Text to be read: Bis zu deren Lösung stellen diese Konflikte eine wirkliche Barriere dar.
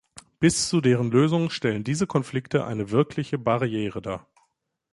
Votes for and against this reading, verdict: 2, 0, accepted